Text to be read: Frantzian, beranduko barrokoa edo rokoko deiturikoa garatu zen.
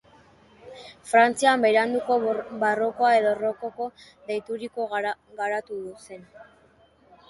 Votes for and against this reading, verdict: 0, 2, rejected